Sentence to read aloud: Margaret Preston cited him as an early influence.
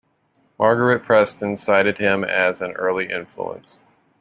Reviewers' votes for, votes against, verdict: 2, 0, accepted